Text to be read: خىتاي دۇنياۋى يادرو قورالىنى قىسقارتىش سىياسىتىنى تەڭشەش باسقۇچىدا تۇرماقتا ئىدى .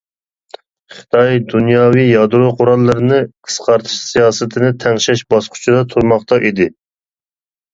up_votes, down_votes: 0, 2